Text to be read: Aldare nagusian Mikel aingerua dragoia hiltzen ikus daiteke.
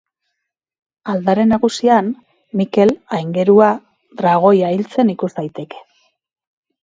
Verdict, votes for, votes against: rejected, 2, 2